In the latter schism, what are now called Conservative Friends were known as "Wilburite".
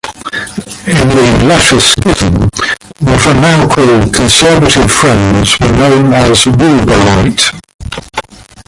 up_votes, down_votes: 0, 2